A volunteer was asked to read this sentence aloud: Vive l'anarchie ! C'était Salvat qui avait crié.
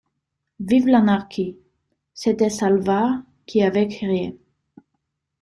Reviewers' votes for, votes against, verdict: 1, 2, rejected